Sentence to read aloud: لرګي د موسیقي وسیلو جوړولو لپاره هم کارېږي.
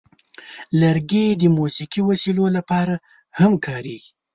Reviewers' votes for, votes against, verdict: 1, 2, rejected